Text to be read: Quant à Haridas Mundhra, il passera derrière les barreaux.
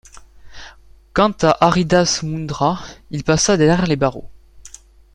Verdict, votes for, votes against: rejected, 0, 2